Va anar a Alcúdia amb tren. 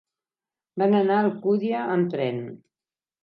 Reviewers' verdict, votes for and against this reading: rejected, 0, 4